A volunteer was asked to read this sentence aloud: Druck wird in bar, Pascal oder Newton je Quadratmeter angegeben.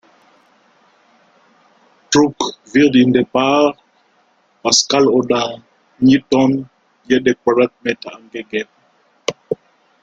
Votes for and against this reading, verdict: 0, 2, rejected